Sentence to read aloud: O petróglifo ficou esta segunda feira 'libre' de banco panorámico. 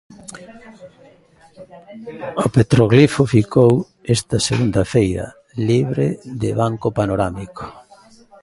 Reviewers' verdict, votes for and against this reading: rejected, 0, 2